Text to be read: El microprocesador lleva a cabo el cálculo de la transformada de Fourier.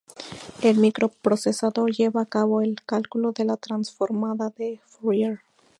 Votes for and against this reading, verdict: 2, 0, accepted